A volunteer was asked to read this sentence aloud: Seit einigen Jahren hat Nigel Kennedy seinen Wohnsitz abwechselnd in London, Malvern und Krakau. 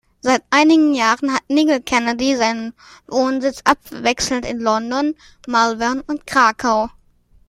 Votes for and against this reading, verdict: 2, 0, accepted